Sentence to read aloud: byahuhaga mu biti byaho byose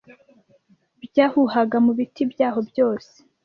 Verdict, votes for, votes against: accepted, 2, 0